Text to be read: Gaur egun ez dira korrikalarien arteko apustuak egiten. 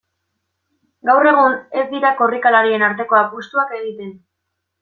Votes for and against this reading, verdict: 2, 0, accepted